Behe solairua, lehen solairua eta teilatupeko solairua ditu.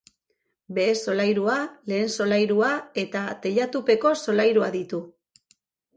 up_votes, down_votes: 3, 0